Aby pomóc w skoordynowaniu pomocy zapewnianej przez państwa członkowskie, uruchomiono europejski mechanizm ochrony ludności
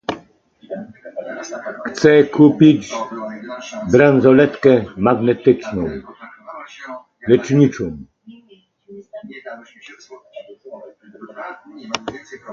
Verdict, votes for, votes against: rejected, 0, 2